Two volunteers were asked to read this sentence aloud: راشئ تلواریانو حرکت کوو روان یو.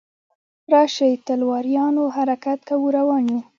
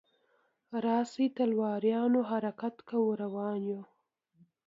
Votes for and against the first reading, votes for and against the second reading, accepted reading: 0, 2, 2, 0, second